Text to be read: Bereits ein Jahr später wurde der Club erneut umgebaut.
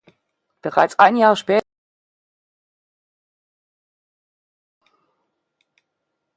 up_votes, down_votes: 0, 2